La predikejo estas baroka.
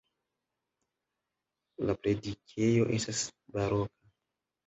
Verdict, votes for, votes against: rejected, 0, 2